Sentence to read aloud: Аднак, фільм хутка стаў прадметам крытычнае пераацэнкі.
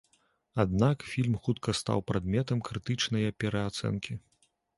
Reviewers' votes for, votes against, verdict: 2, 0, accepted